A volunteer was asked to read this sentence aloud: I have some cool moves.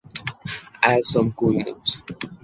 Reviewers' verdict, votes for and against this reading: accepted, 2, 1